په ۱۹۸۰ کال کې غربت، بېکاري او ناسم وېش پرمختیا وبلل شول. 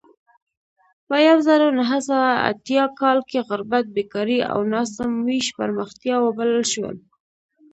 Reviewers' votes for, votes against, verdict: 0, 2, rejected